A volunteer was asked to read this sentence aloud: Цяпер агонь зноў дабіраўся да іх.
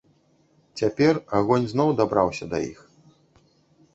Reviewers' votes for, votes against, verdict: 1, 2, rejected